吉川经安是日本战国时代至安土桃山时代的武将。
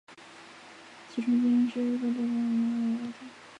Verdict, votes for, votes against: rejected, 0, 2